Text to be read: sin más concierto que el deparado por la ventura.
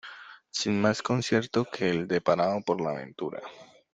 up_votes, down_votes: 2, 0